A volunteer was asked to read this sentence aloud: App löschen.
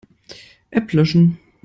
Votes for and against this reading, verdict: 2, 0, accepted